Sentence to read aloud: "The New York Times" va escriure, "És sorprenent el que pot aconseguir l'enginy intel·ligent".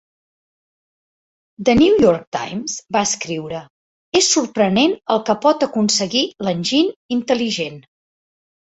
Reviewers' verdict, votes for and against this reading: accepted, 3, 0